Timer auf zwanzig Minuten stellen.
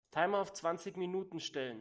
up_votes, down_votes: 2, 0